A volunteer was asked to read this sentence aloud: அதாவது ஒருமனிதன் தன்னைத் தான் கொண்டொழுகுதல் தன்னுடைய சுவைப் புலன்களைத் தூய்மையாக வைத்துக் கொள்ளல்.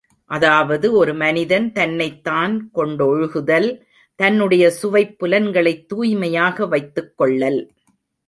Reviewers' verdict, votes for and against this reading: accepted, 2, 0